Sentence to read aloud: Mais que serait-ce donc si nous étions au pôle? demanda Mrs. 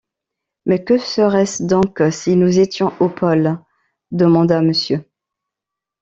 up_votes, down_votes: 1, 2